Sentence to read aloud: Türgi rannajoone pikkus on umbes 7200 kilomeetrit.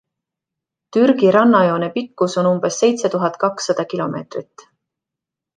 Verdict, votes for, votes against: rejected, 0, 2